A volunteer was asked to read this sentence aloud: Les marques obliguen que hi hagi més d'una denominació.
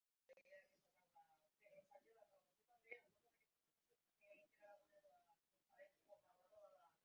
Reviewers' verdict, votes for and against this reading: rejected, 1, 2